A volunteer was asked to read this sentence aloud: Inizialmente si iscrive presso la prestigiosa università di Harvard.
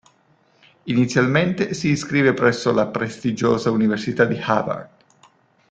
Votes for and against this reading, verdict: 2, 0, accepted